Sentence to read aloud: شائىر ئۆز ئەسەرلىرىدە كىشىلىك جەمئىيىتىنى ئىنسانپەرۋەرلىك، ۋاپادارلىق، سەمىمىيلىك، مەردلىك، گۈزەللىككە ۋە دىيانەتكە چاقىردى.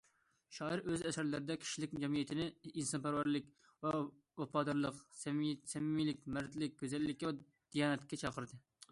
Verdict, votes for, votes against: rejected, 0, 3